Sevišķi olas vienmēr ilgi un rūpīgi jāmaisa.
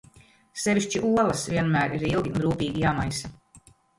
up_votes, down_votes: 0, 2